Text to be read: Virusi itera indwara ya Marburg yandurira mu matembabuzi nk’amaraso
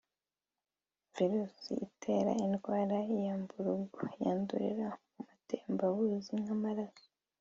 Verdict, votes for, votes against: rejected, 1, 2